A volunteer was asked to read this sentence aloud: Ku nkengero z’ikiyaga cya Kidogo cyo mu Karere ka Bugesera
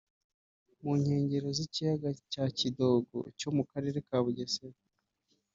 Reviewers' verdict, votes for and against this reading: rejected, 1, 2